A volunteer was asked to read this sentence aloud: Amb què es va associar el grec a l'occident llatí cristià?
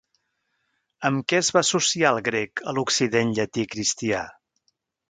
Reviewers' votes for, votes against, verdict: 2, 0, accepted